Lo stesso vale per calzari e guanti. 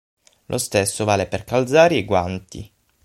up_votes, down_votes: 3, 6